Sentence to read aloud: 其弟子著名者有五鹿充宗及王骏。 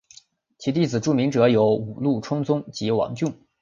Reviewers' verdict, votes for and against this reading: accepted, 3, 0